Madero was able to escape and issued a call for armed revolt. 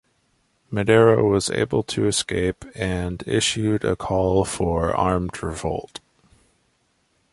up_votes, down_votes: 2, 0